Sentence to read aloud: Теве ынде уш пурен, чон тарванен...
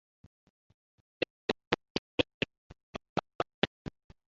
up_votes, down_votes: 0, 2